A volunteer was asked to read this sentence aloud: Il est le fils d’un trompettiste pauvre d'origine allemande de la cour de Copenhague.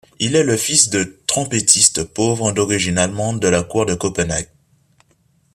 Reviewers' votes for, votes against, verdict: 2, 1, accepted